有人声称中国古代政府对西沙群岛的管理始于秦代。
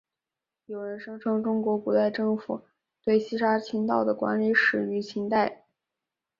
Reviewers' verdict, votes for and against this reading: accepted, 2, 1